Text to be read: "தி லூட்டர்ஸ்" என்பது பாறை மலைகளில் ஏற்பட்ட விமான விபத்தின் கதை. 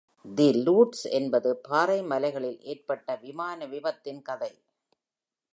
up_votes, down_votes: 1, 2